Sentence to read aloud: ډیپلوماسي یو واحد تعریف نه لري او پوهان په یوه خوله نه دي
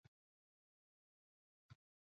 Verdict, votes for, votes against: rejected, 0, 2